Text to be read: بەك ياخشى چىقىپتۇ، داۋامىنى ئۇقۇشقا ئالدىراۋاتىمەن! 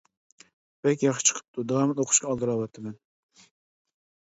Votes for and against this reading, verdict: 2, 0, accepted